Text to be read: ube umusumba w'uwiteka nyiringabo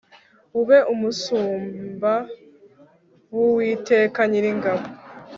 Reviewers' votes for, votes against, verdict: 2, 0, accepted